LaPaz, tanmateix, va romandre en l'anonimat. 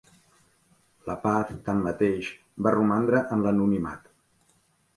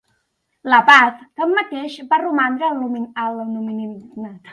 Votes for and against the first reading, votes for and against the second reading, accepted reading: 4, 0, 0, 2, first